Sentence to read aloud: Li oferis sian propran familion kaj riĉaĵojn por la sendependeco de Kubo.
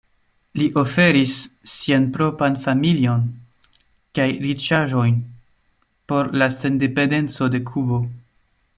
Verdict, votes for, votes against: rejected, 0, 2